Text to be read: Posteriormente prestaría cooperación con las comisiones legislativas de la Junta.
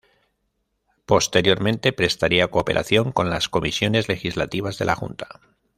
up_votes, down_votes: 2, 0